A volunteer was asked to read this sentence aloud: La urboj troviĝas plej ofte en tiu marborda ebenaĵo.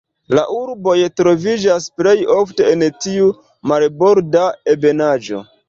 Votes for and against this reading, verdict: 1, 2, rejected